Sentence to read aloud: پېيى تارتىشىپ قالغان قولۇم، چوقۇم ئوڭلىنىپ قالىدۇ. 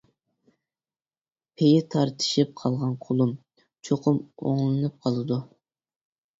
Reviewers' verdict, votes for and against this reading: accepted, 2, 0